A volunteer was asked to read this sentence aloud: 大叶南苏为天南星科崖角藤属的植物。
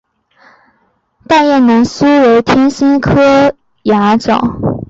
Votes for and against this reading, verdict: 1, 4, rejected